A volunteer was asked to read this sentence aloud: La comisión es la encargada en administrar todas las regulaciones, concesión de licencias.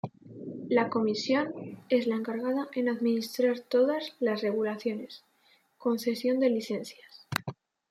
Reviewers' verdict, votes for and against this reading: accepted, 2, 0